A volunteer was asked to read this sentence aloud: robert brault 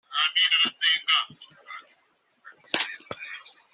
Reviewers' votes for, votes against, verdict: 1, 2, rejected